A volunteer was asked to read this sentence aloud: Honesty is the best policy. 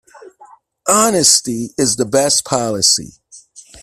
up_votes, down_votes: 1, 2